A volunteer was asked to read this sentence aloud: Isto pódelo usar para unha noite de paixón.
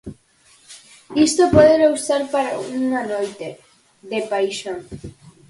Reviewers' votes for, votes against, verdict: 4, 2, accepted